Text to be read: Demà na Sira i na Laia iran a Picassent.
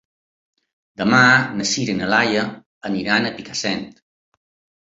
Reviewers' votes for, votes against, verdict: 1, 2, rejected